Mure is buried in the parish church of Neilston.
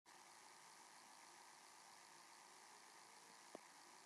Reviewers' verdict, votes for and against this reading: rejected, 0, 2